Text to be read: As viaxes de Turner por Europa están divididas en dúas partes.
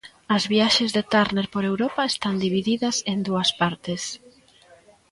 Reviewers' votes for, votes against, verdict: 1, 2, rejected